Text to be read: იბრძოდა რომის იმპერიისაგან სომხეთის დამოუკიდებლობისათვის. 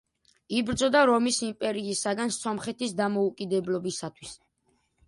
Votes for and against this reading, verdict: 2, 0, accepted